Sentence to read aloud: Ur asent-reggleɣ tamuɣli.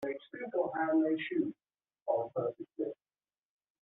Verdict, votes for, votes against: rejected, 1, 2